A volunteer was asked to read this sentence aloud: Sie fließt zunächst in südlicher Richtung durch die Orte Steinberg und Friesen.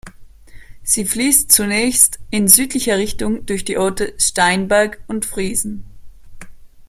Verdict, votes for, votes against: accepted, 2, 0